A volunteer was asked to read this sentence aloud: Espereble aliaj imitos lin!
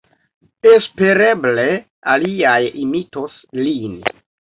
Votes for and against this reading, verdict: 1, 2, rejected